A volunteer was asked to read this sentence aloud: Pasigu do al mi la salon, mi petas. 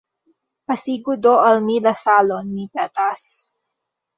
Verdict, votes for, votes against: accepted, 2, 1